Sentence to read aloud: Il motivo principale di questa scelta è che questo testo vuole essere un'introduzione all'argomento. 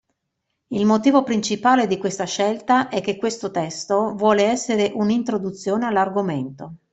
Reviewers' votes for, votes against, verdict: 2, 0, accepted